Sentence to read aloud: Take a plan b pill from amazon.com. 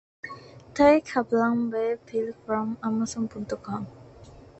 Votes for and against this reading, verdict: 0, 2, rejected